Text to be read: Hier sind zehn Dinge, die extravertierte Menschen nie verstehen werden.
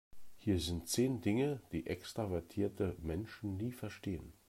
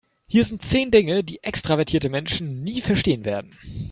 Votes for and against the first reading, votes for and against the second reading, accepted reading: 1, 2, 2, 0, second